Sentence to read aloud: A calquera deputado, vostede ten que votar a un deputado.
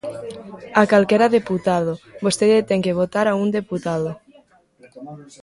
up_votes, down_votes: 2, 0